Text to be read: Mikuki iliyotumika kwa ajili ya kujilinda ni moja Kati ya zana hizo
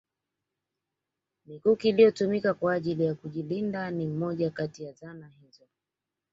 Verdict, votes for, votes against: accepted, 2, 1